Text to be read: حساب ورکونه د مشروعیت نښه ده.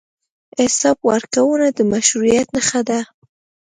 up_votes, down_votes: 2, 0